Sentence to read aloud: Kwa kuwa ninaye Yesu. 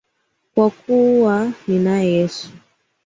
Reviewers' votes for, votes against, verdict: 3, 0, accepted